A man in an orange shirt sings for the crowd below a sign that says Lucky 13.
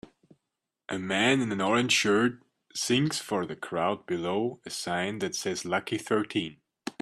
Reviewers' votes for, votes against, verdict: 0, 2, rejected